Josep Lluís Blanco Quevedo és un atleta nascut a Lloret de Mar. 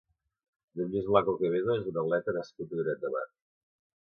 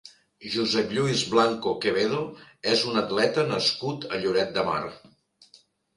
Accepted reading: second